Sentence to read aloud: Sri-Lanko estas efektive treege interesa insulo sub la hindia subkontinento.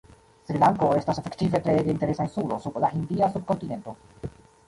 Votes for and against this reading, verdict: 0, 2, rejected